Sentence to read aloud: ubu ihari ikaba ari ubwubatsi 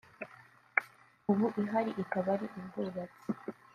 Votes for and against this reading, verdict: 2, 0, accepted